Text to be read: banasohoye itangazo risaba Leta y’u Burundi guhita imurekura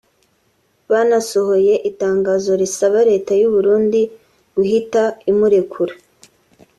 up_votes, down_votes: 2, 0